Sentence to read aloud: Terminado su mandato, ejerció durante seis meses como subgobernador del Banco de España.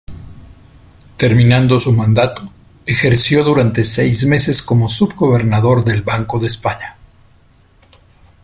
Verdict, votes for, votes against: rejected, 1, 2